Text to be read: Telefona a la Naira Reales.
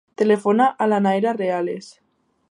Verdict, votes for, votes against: accepted, 2, 0